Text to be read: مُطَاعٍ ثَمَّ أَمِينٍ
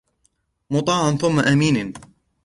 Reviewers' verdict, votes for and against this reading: accepted, 2, 0